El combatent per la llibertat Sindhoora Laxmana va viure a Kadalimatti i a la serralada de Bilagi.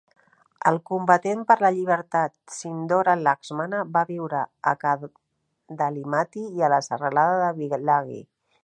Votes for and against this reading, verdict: 0, 2, rejected